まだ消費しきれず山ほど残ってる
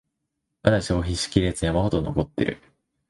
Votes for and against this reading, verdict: 2, 0, accepted